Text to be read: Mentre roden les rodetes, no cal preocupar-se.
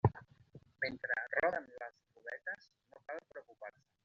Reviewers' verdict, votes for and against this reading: rejected, 0, 2